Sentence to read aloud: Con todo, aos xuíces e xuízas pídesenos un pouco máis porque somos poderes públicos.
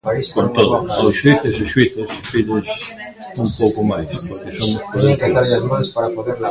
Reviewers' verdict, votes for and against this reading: rejected, 0, 2